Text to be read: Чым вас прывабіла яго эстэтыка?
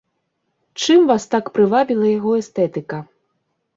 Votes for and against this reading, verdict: 0, 2, rejected